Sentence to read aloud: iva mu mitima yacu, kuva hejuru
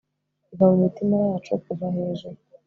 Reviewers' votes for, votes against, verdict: 2, 0, accepted